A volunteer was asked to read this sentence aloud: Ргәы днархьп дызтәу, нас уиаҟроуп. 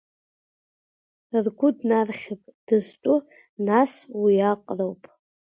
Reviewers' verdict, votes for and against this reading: rejected, 0, 2